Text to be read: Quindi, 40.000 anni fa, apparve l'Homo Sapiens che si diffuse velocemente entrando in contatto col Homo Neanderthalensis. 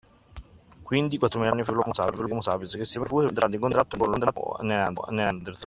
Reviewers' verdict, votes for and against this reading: rejected, 0, 2